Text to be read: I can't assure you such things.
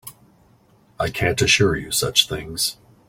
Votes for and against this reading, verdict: 2, 0, accepted